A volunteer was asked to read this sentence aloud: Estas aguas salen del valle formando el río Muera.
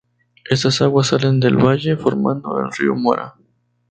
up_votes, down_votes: 0, 2